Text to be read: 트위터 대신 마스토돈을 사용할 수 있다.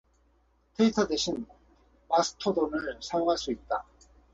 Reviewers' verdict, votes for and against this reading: accepted, 4, 0